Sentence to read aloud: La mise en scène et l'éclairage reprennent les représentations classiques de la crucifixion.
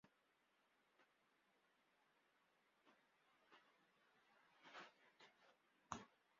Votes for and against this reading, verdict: 0, 2, rejected